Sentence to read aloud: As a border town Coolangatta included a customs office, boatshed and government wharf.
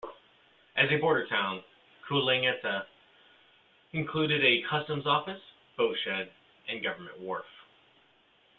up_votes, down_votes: 1, 2